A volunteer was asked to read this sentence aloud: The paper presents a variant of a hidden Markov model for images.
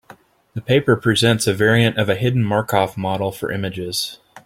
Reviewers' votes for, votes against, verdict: 2, 0, accepted